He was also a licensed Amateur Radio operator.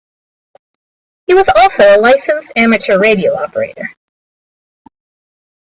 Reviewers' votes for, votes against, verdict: 2, 0, accepted